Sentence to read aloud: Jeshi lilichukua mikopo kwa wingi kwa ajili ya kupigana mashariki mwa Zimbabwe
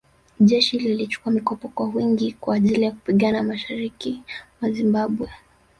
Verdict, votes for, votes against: rejected, 0, 2